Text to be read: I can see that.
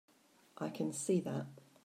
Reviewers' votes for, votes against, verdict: 2, 1, accepted